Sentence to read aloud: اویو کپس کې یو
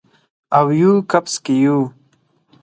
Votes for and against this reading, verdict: 4, 0, accepted